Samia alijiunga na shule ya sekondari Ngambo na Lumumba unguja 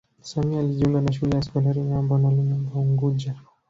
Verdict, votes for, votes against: rejected, 1, 2